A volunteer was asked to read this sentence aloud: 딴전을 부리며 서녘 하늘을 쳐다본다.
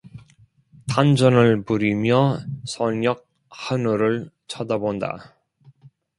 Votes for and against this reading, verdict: 0, 2, rejected